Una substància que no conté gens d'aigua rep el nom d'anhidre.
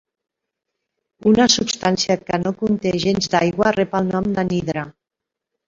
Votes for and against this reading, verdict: 0, 2, rejected